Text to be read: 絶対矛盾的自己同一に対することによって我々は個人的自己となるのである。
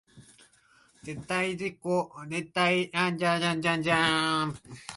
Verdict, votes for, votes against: rejected, 0, 2